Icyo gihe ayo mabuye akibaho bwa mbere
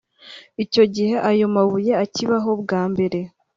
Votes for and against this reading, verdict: 3, 0, accepted